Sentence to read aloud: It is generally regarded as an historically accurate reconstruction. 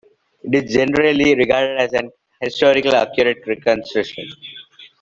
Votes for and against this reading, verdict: 1, 2, rejected